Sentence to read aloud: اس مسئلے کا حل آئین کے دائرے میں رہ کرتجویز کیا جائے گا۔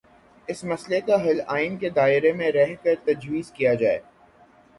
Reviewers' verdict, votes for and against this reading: rejected, 3, 3